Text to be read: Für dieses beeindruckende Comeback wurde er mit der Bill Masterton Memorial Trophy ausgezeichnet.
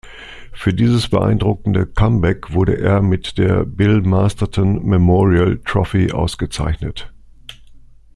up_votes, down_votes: 2, 0